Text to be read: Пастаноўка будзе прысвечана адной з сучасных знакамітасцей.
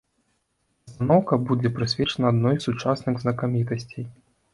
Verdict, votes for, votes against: rejected, 0, 2